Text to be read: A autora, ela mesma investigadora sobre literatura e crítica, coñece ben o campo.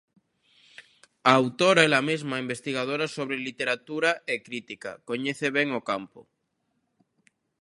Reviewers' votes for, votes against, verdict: 2, 0, accepted